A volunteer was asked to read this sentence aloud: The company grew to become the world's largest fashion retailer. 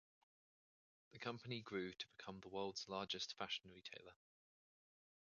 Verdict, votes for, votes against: rejected, 1, 2